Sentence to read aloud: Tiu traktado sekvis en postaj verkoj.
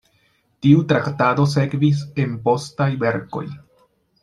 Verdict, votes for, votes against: accepted, 2, 0